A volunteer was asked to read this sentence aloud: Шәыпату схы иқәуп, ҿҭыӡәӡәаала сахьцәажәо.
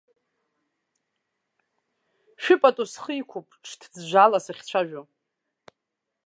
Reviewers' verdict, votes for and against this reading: accepted, 2, 1